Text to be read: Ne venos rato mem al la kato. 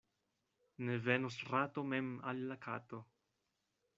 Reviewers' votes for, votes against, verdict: 2, 0, accepted